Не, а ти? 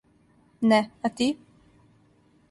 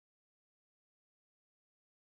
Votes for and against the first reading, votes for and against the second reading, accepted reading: 2, 0, 0, 2, first